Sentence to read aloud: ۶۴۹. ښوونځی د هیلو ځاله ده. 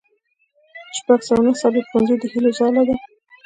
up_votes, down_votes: 0, 2